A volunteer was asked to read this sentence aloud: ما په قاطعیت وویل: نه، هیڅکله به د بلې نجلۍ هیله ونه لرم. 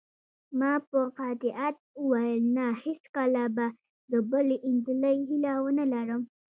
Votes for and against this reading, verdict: 1, 2, rejected